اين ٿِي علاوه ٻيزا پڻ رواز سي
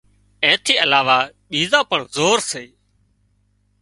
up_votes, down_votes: 1, 2